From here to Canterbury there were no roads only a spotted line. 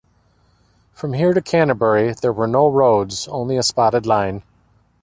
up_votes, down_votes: 3, 1